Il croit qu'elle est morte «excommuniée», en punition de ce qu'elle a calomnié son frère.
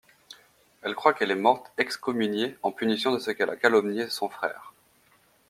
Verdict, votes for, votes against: rejected, 0, 2